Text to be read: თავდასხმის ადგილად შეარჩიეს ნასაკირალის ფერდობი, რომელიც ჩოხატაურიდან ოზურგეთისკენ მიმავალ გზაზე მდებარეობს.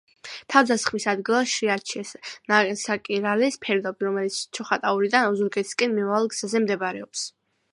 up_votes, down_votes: 2, 1